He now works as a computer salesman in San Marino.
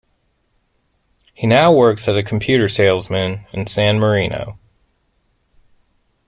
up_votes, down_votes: 2, 1